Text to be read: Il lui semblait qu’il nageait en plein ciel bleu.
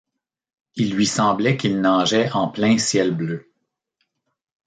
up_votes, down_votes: 2, 0